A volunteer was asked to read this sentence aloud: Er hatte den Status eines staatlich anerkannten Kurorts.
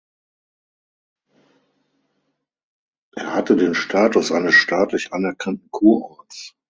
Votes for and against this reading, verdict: 3, 6, rejected